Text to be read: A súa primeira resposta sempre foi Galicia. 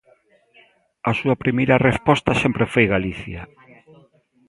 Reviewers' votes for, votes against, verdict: 2, 0, accepted